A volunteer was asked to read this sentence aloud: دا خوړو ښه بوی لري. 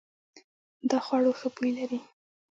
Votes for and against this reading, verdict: 2, 0, accepted